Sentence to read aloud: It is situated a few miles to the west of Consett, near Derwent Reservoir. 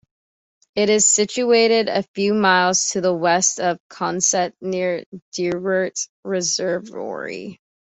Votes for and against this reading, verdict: 2, 0, accepted